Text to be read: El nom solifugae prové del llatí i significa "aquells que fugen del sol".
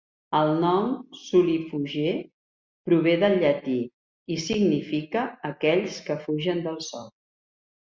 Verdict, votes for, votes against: rejected, 0, 3